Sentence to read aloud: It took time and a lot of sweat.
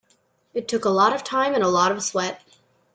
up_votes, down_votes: 0, 2